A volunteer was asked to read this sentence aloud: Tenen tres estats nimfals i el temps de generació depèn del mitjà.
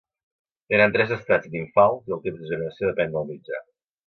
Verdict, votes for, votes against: accepted, 2, 1